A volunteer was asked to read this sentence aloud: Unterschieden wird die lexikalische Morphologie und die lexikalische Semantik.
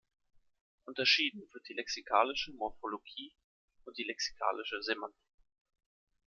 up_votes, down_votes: 2, 1